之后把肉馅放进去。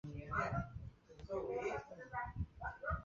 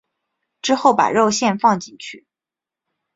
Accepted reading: second